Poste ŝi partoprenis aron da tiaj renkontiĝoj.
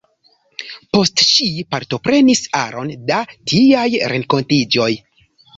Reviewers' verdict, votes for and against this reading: accepted, 2, 0